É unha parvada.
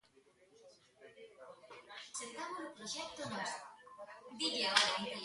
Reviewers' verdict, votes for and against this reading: rejected, 0, 3